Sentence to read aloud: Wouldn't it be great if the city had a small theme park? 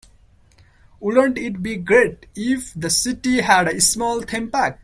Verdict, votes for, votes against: accepted, 2, 1